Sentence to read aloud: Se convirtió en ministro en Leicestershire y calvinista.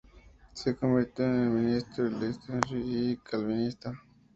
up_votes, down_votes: 2, 0